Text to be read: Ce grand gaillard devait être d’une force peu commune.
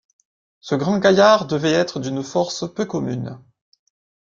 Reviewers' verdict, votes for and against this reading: accepted, 2, 0